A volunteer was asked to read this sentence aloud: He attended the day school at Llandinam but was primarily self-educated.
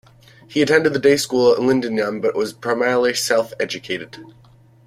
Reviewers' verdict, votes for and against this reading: accepted, 2, 1